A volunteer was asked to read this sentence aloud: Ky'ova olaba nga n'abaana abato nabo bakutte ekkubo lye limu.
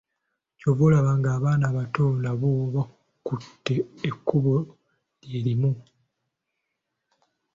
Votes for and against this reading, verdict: 2, 0, accepted